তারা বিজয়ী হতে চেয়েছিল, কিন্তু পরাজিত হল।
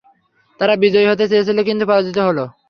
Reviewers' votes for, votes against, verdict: 3, 0, accepted